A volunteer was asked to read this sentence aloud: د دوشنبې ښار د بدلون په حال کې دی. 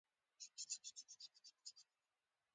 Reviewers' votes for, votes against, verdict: 1, 2, rejected